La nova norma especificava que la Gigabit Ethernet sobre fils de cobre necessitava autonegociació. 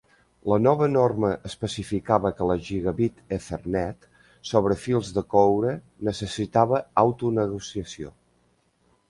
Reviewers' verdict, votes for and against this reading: accepted, 2, 0